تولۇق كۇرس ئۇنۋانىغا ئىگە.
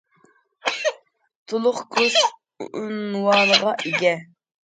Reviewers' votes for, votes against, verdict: 1, 2, rejected